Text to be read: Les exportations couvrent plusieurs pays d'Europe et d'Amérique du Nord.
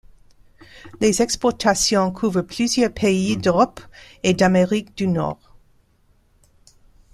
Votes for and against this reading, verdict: 2, 0, accepted